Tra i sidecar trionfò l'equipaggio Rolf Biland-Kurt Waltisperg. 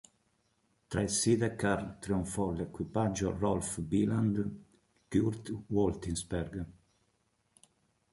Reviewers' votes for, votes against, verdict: 0, 2, rejected